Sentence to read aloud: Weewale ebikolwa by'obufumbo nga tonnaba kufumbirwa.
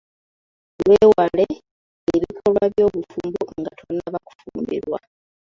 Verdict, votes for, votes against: rejected, 0, 2